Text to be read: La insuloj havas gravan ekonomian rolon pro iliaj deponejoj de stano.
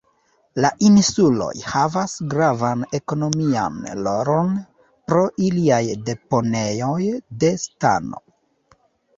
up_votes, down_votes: 2, 0